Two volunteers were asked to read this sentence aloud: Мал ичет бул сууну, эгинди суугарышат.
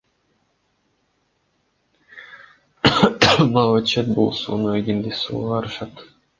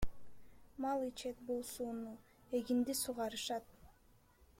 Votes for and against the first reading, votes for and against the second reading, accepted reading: 1, 2, 2, 1, second